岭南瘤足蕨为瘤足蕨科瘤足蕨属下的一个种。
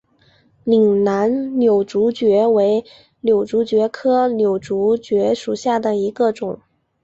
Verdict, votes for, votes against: accepted, 7, 1